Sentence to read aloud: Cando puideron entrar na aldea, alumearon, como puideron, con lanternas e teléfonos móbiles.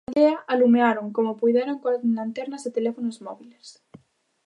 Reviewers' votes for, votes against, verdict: 0, 2, rejected